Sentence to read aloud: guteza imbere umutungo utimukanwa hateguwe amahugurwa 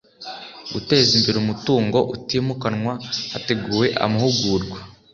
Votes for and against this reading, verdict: 2, 0, accepted